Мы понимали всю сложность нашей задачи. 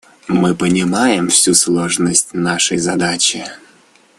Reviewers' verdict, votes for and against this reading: rejected, 1, 2